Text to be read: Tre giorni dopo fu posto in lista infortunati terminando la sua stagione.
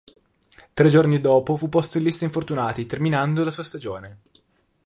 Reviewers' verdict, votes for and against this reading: accepted, 3, 0